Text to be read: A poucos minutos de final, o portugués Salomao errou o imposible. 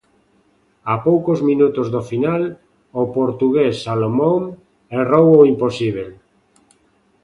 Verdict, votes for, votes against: rejected, 1, 2